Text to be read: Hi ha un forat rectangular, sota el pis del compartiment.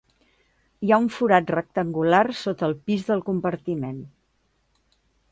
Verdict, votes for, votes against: accepted, 2, 0